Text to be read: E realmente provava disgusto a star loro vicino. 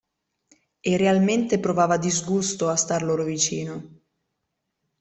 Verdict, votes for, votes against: accepted, 2, 0